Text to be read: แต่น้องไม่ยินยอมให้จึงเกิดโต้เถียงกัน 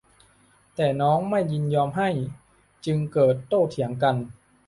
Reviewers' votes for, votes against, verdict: 2, 0, accepted